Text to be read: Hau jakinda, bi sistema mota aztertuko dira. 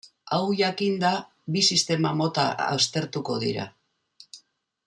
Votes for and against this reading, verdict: 0, 2, rejected